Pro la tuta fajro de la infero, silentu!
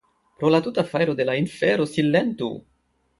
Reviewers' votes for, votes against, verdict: 2, 0, accepted